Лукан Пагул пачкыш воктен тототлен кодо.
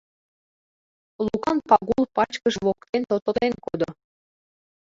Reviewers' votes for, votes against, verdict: 1, 2, rejected